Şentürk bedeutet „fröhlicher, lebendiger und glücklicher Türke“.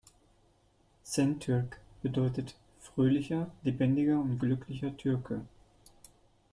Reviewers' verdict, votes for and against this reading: accepted, 2, 0